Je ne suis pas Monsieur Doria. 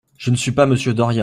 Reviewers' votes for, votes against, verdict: 0, 2, rejected